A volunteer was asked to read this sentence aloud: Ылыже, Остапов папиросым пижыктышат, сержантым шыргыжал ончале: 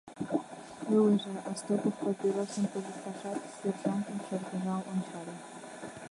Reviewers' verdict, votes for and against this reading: rejected, 1, 2